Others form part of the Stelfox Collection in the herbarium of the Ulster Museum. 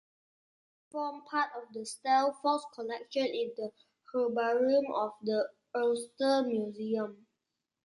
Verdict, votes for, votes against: rejected, 0, 2